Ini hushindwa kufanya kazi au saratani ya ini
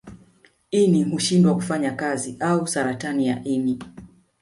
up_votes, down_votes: 2, 1